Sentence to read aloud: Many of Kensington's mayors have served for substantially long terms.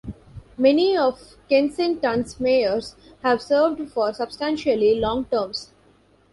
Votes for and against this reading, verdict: 2, 1, accepted